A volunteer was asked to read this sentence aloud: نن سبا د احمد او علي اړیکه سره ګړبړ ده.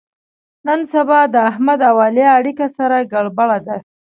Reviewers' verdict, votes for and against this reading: accepted, 2, 0